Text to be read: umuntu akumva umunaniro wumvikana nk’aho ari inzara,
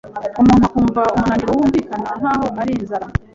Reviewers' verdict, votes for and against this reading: accepted, 2, 0